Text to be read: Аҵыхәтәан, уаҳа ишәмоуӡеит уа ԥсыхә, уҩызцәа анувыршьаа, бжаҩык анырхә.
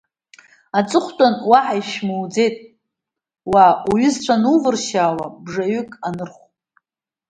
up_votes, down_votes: 1, 2